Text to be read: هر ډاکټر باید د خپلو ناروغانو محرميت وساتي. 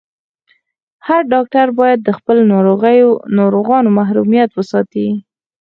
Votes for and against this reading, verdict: 4, 0, accepted